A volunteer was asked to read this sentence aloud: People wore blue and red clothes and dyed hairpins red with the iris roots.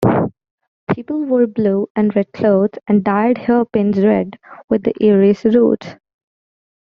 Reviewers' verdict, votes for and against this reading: rejected, 0, 2